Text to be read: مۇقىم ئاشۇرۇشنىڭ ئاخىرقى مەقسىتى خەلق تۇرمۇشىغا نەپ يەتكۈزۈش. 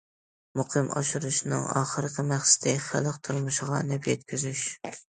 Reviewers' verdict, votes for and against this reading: accepted, 2, 0